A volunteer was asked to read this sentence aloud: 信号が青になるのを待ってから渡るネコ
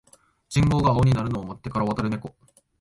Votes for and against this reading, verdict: 2, 0, accepted